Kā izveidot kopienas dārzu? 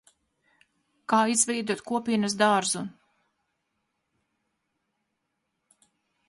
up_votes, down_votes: 4, 0